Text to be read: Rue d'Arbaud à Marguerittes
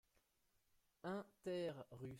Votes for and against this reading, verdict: 0, 2, rejected